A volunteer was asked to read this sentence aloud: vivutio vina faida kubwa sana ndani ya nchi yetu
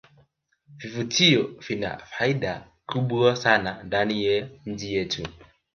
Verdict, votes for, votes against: accepted, 2, 0